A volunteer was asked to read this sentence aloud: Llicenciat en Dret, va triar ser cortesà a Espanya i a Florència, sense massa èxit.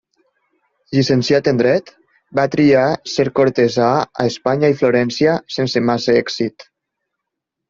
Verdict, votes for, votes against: rejected, 0, 2